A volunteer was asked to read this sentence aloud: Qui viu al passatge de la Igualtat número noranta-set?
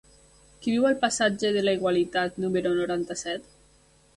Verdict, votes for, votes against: rejected, 2, 3